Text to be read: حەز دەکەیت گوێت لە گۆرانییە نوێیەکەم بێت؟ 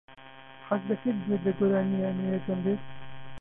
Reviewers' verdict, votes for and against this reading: rejected, 1, 2